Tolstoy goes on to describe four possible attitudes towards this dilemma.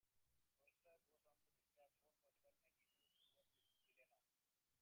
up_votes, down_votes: 0, 2